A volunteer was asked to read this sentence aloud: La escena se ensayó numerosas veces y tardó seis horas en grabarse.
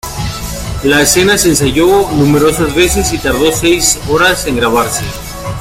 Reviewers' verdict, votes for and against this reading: rejected, 1, 2